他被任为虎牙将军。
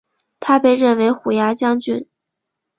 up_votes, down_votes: 5, 1